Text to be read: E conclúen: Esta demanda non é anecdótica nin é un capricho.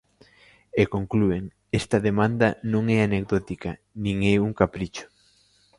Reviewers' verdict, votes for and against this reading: accepted, 2, 0